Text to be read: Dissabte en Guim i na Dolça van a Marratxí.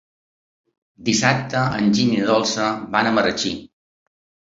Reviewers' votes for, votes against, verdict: 0, 2, rejected